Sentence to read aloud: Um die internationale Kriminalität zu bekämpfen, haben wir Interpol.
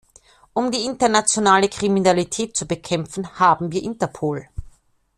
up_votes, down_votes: 2, 0